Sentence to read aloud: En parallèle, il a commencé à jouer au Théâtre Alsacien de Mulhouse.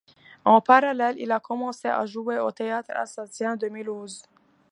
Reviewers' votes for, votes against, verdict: 2, 0, accepted